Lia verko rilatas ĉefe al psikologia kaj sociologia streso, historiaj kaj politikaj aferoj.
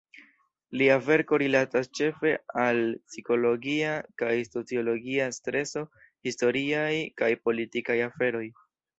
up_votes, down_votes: 2, 0